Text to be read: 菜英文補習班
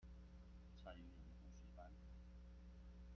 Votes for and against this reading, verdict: 0, 2, rejected